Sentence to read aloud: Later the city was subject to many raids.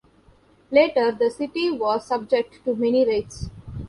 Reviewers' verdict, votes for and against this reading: rejected, 0, 2